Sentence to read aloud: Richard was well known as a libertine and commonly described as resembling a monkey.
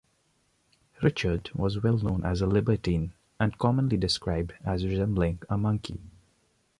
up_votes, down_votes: 3, 0